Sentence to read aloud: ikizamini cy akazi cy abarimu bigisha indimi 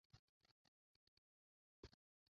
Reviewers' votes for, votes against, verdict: 0, 2, rejected